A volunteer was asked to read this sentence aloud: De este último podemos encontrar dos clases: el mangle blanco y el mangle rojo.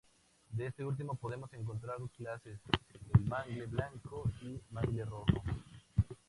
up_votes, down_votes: 2, 0